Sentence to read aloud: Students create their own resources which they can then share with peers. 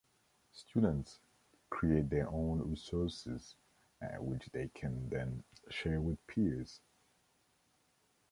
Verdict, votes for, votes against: rejected, 1, 2